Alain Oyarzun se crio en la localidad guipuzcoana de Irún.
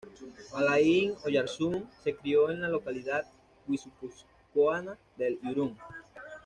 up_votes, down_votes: 1, 2